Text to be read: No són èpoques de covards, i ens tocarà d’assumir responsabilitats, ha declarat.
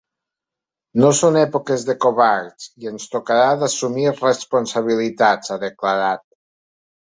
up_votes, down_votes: 3, 0